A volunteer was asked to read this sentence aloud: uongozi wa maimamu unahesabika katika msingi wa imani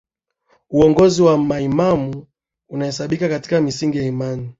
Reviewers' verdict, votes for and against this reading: accepted, 4, 1